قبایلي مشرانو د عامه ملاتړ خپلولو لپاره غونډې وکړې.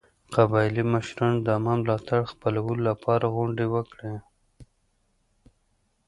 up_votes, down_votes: 2, 0